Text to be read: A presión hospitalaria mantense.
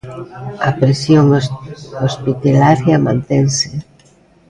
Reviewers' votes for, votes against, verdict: 0, 2, rejected